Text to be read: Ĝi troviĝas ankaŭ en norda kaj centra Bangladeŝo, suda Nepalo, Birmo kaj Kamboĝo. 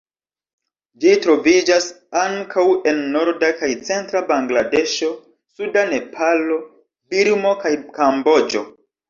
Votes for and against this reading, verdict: 2, 0, accepted